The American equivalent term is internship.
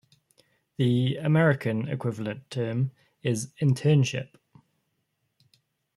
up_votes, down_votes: 2, 0